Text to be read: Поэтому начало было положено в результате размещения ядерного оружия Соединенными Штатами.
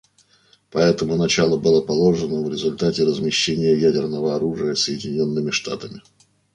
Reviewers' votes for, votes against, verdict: 2, 0, accepted